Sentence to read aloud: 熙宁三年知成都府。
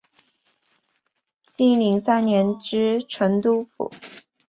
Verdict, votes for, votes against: accepted, 4, 1